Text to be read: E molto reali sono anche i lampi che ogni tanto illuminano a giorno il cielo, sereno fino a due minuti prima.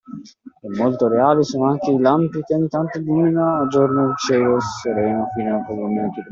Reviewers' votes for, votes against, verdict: 0, 2, rejected